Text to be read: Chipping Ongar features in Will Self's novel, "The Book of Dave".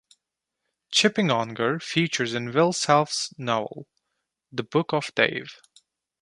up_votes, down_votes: 0, 2